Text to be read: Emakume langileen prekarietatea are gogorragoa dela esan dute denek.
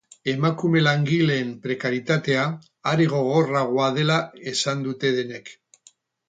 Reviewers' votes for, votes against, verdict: 4, 2, accepted